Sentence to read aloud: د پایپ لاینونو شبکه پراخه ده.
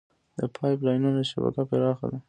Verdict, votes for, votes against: accepted, 2, 1